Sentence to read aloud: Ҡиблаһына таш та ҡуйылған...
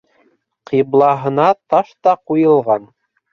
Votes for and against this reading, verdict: 2, 1, accepted